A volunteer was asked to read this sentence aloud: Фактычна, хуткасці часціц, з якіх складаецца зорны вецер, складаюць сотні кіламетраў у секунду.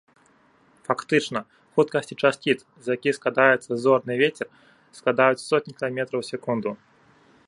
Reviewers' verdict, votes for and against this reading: accepted, 3, 0